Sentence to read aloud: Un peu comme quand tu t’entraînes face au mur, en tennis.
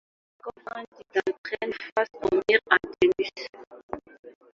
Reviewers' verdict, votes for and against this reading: rejected, 0, 2